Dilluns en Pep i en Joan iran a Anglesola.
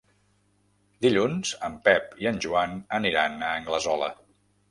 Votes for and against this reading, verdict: 1, 2, rejected